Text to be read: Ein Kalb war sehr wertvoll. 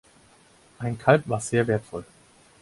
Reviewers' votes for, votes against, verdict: 4, 0, accepted